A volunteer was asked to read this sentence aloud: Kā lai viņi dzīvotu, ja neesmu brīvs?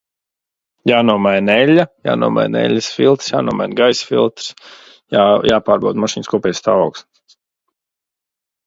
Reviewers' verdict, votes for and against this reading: rejected, 0, 2